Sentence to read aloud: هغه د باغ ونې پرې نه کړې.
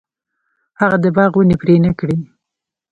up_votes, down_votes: 1, 2